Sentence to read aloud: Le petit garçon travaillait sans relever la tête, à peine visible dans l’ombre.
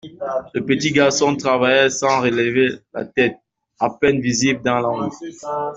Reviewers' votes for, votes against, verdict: 2, 1, accepted